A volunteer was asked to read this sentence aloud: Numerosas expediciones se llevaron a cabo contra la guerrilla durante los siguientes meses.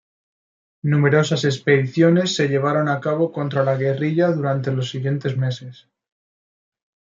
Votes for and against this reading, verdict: 2, 0, accepted